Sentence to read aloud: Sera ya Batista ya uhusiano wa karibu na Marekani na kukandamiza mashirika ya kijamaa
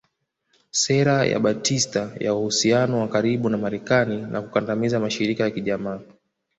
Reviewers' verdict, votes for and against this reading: accepted, 2, 0